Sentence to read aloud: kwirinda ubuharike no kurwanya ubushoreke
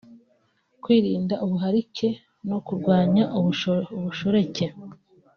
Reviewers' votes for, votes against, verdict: 0, 2, rejected